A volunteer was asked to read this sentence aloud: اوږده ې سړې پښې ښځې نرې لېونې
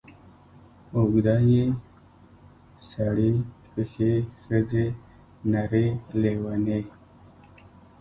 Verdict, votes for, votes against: rejected, 1, 2